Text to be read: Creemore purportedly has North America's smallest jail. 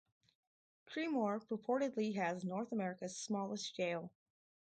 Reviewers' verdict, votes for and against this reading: rejected, 2, 4